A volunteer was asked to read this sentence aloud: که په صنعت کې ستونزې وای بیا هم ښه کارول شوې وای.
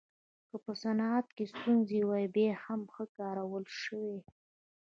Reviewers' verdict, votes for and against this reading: rejected, 1, 2